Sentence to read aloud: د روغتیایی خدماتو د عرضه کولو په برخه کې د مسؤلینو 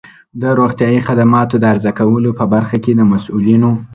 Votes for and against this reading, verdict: 2, 0, accepted